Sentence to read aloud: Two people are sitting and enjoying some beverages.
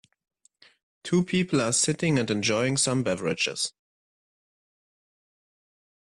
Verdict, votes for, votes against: accepted, 2, 0